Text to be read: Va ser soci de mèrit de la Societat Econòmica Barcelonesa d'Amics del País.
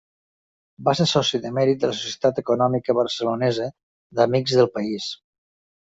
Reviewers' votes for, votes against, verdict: 2, 0, accepted